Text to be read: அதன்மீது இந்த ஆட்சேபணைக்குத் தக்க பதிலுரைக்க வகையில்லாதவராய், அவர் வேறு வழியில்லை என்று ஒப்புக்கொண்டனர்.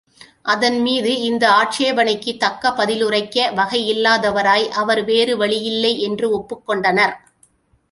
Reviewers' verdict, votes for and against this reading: accepted, 2, 0